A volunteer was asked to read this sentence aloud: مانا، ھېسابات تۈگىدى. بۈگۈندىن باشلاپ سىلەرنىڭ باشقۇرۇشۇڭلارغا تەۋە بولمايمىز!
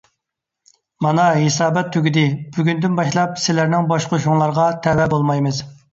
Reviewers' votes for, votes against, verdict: 2, 0, accepted